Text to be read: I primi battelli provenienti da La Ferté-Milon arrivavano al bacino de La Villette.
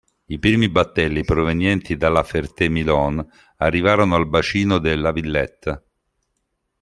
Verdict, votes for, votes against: accepted, 2, 0